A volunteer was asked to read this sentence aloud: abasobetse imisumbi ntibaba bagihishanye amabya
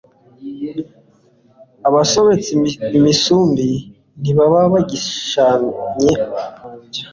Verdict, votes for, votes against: accepted, 2, 0